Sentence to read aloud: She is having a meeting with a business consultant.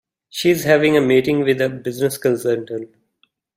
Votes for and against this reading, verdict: 0, 2, rejected